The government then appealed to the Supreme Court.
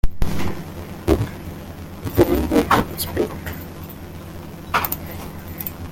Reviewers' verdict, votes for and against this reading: rejected, 0, 2